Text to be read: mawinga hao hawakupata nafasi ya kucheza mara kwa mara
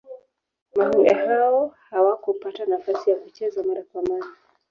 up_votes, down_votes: 0, 3